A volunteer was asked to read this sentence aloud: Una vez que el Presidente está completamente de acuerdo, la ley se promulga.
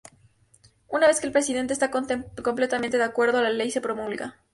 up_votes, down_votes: 2, 0